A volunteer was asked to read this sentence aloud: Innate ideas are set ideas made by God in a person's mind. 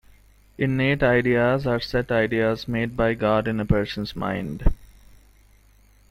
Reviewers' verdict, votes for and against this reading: accepted, 3, 0